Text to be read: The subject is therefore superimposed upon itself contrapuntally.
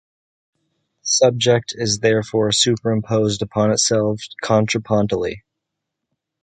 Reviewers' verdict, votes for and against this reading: rejected, 0, 2